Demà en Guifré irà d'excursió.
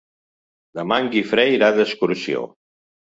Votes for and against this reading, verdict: 3, 0, accepted